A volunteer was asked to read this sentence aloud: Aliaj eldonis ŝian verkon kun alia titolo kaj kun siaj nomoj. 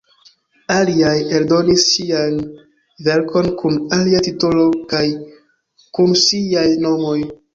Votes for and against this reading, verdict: 2, 0, accepted